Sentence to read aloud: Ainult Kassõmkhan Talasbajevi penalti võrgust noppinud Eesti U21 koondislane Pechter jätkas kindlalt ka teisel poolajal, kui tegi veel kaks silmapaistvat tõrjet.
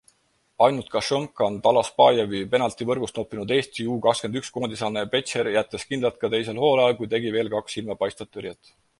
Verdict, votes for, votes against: rejected, 0, 2